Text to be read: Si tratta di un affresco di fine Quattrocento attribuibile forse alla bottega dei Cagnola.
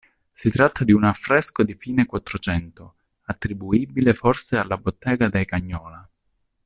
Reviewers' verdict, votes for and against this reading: accepted, 2, 0